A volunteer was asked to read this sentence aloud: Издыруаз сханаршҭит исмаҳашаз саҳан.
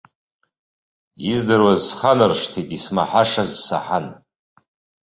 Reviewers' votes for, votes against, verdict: 2, 0, accepted